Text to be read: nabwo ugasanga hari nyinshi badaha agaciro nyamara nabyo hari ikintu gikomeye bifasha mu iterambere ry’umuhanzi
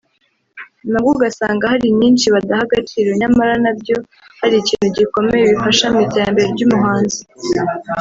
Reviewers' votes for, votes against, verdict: 1, 2, rejected